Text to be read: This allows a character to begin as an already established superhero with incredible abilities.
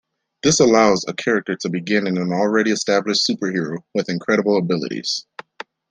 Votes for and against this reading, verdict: 0, 2, rejected